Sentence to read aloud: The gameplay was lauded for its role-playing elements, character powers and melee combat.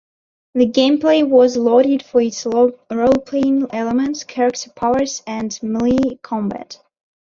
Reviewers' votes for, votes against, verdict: 1, 2, rejected